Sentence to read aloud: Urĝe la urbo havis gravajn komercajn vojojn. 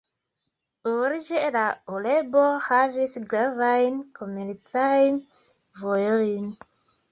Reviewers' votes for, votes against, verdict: 0, 2, rejected